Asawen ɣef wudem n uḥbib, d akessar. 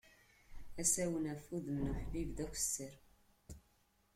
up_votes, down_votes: 2, 0